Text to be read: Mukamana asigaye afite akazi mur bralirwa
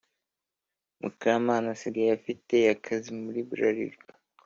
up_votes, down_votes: 2, 0